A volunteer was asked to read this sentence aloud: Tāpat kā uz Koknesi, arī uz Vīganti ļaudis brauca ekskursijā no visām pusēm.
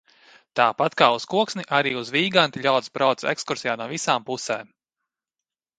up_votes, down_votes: 0, 2